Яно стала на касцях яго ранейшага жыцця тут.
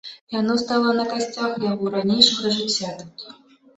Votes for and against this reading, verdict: 2, 0, accepted